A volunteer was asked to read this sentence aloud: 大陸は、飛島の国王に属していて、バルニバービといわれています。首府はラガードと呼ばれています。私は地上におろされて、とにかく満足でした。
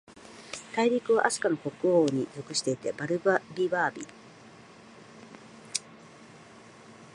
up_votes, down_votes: 0, 2